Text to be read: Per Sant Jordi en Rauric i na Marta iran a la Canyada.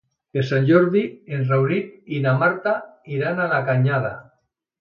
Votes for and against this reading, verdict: 2, 0, accepted